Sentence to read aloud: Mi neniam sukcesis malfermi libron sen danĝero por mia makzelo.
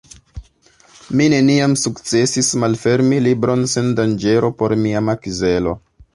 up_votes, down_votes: 2, 0